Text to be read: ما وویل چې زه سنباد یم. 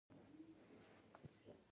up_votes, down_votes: 0, 2